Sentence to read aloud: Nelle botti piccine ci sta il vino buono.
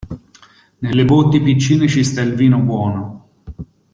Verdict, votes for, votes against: accepted, 2, 0